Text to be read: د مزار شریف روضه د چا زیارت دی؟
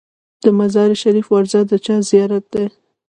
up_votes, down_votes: 2, 0